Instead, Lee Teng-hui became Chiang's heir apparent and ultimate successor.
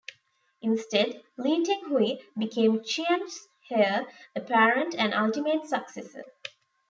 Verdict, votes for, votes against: rejected, 1, 2